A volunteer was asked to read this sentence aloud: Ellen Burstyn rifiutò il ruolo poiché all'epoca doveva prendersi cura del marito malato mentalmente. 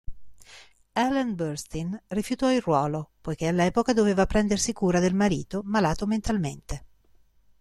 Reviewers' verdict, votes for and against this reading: accepted, 4, 0